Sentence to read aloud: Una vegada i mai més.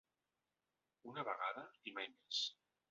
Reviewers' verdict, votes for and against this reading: rejected, 1, 2